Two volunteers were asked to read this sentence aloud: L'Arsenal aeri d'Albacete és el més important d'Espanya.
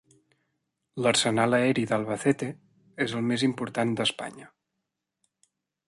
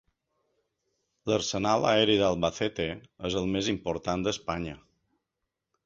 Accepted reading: second